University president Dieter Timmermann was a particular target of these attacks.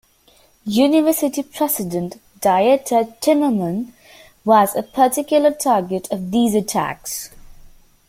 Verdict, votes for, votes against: accepted, 3, 0